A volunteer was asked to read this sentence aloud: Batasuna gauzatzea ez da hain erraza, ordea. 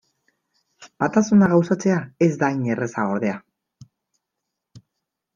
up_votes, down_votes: 2, 0